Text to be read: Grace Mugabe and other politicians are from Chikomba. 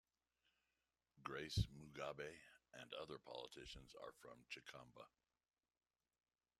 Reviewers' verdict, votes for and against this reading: accepted, 2, 0